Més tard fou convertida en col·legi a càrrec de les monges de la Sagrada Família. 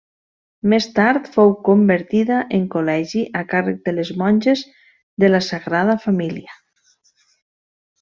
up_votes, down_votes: 3, 0